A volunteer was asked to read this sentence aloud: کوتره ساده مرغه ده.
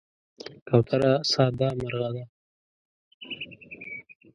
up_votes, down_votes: 2, 0